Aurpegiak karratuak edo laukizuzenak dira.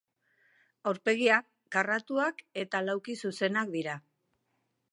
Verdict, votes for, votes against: rejected, 0, 2